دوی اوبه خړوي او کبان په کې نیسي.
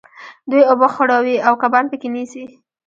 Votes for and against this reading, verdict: 0, 2, rejected